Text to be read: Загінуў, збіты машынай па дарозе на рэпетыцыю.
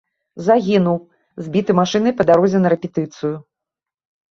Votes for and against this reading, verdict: 2, 0, accepted